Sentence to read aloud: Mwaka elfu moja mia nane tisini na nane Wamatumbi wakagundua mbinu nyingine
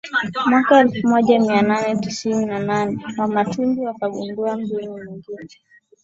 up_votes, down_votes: 20, 2